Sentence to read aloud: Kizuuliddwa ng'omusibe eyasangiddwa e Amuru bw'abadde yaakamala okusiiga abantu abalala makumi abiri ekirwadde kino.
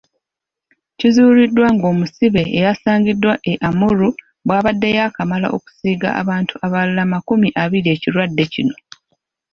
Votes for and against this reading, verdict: 2, 1, accepted